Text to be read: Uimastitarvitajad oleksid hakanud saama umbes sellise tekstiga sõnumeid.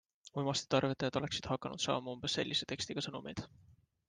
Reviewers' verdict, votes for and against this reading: accepted, 2, 0